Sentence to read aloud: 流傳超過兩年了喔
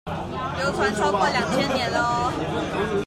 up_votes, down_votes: 0, 3